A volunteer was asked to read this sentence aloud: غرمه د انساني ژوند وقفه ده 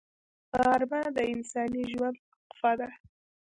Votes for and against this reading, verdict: 0, 2, rejected